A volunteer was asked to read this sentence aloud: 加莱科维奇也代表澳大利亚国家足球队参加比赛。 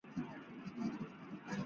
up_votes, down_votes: 2, 3